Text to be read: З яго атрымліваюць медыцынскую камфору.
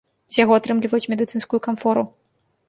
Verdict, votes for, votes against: rejected, 1, 2